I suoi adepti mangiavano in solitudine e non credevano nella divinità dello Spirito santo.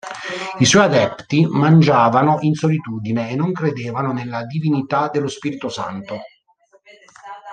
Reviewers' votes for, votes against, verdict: 1, 2, rejected